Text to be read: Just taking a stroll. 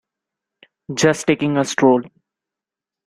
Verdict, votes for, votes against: accepted, 2, 0